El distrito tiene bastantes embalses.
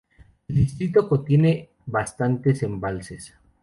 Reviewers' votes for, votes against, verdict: 0, 2, rejected